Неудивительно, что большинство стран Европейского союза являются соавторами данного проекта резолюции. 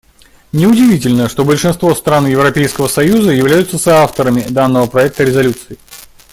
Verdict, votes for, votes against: accepted, 2, 0